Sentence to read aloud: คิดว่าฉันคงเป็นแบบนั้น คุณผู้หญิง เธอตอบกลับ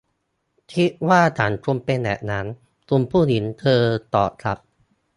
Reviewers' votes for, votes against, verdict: 0, 2, rejected